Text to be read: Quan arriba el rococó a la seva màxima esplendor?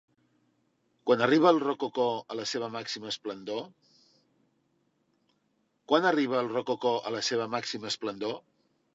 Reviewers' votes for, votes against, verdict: 0, 2, rejected